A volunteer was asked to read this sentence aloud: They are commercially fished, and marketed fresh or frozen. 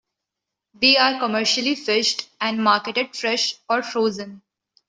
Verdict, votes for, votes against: accepted, 2, 0